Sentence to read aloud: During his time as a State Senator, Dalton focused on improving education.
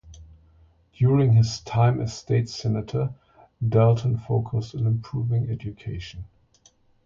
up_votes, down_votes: 0, 2